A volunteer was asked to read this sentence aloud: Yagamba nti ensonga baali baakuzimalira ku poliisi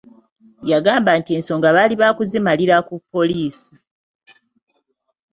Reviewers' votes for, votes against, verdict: 2, 1, accepted